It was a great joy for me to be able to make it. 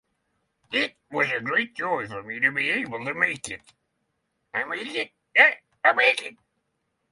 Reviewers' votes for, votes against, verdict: 0, 3, rejected